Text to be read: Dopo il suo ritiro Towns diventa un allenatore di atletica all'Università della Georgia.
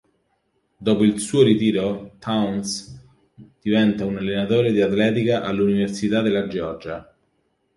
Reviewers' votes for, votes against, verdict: 3, 0, accepted